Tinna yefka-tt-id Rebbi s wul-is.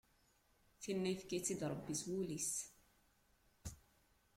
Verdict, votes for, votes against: rejected, 1, 2